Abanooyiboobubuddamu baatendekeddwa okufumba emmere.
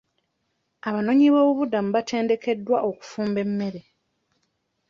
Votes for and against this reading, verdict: 2, 0, accepted